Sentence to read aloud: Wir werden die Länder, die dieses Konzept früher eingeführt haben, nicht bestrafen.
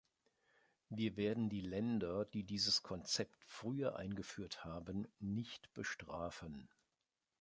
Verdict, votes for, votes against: rejected, 0, 2